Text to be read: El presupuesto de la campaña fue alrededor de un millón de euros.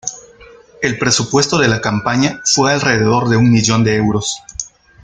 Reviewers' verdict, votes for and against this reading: accepted, 2, 0